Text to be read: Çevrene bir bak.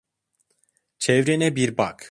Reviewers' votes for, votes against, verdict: 2, 0, accepted